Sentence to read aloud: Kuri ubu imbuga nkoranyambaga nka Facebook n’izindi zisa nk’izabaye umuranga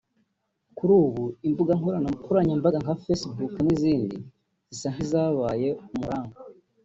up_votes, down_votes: 1, 3